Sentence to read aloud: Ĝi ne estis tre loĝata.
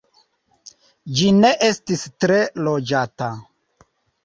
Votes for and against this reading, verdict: 3, 0, accepted